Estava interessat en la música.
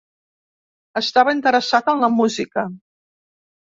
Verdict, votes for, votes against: accepted, 2, 0